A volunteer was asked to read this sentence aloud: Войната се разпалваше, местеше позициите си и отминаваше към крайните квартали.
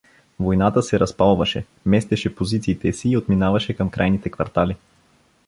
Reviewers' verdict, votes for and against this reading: accepted, 2, 0